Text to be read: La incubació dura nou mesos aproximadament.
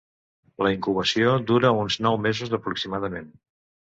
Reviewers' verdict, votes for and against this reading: rejected, 0, 2